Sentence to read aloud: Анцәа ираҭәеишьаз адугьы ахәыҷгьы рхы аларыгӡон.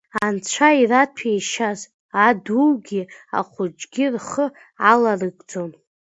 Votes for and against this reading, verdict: 0, 2, rejected